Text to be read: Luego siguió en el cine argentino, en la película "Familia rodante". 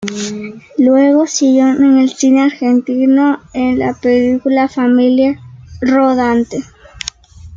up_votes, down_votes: 2, 1